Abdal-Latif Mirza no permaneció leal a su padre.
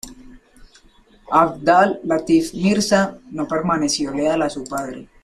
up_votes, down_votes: 3, 0